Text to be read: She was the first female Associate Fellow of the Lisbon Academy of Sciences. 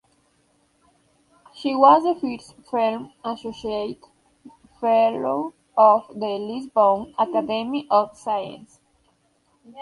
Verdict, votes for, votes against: rejected, 1, 2